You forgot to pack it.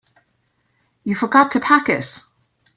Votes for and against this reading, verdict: 0, 2, rejected